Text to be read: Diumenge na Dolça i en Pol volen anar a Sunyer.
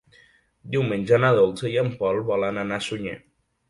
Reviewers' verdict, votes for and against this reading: accepted, 4, 0